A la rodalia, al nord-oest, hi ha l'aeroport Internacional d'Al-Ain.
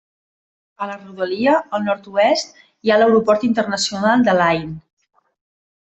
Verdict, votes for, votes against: accepted, 2, 1